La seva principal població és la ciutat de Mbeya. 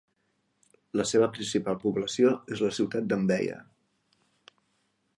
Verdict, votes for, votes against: accepted, 2, 0